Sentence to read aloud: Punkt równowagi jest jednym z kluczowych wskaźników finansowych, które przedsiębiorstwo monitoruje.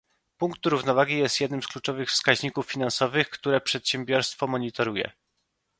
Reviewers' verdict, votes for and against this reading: accepted, 2, 0